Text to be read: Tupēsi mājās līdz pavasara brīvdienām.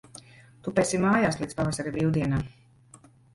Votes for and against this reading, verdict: 0, 2, rejected